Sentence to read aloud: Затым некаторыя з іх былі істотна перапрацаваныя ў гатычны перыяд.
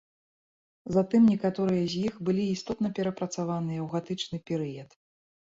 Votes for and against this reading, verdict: 2, 0, accepted